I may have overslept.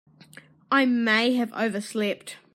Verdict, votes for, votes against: accepted, 2, 0